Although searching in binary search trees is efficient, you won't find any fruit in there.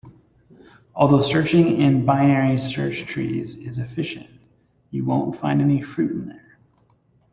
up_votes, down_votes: 2, 0